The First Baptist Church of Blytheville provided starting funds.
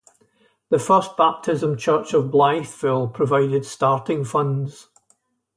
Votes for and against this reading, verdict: 2, 2, rejected